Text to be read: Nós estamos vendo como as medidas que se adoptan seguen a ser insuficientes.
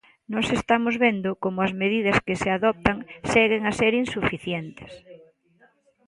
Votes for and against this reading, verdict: 2, 0, accepted